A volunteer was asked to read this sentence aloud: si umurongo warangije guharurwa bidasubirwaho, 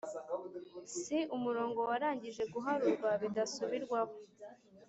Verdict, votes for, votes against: accepted, 2, 0